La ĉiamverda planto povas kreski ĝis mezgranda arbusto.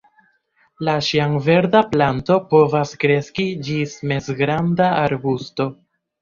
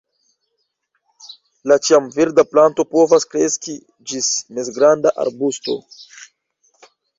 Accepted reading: first